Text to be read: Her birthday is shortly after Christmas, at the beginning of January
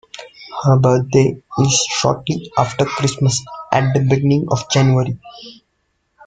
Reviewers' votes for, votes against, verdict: 0, 2, rejected